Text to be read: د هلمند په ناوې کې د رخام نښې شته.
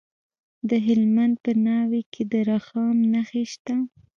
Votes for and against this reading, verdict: 0, 2, rejected